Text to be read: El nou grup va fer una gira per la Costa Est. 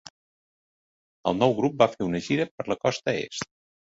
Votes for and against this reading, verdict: 3, 0, accepted